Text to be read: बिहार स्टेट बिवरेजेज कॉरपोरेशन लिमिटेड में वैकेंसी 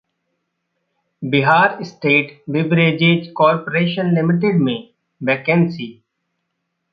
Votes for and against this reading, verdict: 1, 2, rejected